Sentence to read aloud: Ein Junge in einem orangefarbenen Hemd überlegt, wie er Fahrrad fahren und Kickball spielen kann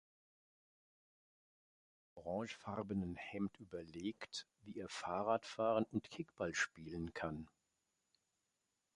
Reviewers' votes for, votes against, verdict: 1, 2, rejected